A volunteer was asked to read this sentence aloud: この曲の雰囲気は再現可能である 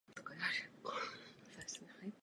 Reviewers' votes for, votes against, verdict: 0, 2, rejected